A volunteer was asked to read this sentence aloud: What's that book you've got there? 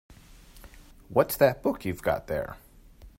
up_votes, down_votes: 2, 0